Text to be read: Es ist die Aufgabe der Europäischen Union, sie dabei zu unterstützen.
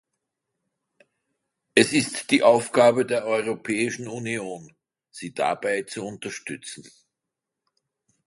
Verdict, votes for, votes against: rejected, 1, 2